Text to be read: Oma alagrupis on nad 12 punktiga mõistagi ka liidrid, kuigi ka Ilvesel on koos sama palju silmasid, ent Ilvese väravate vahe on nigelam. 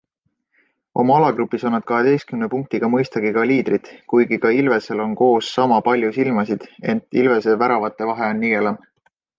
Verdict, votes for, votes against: rejected, 0, 2